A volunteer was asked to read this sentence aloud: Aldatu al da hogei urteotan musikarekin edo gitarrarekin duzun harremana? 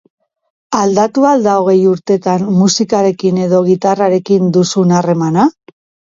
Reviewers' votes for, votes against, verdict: 1, 2, rejected